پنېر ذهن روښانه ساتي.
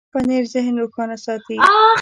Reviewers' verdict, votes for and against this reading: rejected, 1, 2